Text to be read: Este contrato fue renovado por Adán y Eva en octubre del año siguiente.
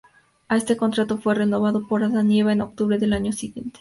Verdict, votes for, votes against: accepted, 2, 0